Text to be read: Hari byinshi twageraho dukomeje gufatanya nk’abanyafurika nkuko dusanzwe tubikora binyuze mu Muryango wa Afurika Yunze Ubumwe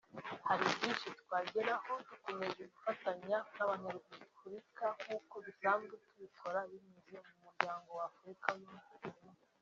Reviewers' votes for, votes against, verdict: 2, 3, rejected